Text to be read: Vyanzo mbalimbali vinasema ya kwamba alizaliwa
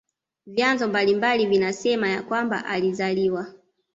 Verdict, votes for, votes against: accepted, 2, 0